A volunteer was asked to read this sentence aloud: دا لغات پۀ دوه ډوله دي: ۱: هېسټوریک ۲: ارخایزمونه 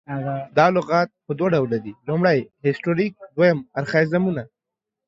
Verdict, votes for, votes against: rejected, 0, 2